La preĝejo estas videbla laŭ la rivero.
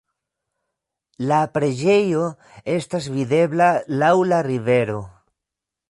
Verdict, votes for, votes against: rejected, 0, 2